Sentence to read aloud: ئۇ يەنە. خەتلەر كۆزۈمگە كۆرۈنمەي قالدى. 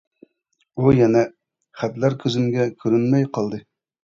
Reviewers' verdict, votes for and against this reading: accepted, 2, 0